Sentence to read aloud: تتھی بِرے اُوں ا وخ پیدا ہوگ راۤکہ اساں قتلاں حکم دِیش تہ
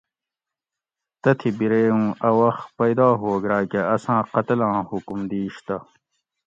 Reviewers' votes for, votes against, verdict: 2, 0, accepted